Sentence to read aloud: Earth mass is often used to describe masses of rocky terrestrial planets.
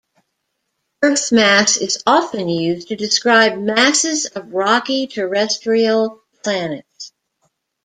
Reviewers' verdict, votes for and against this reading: rejected, 1, 2